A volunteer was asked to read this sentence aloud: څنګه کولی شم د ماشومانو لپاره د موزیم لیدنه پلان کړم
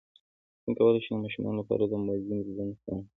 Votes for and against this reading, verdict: 2, 1, accepted